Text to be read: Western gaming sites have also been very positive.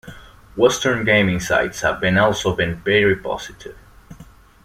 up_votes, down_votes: 1, 2